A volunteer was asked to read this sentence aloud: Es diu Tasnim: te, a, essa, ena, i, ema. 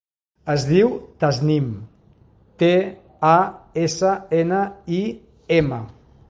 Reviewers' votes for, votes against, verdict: 2, 0, accepted